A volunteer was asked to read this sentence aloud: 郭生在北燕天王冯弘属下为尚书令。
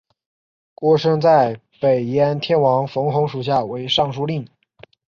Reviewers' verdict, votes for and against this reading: accepted, 4, 1